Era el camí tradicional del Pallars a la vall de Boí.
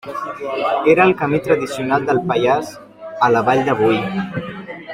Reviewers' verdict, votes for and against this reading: rejected, 0, 2